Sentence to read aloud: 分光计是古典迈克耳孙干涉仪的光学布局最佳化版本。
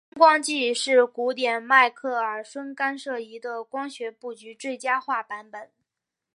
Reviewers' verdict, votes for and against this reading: accepted, 4, 1